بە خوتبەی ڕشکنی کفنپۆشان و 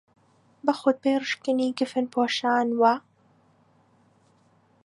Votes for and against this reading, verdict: 2, 0, accepted